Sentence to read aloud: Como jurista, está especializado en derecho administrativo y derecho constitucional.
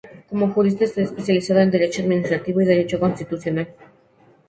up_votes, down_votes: 4, 0